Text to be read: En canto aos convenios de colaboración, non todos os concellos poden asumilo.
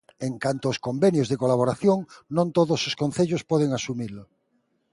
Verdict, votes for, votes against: accepted, 2, 0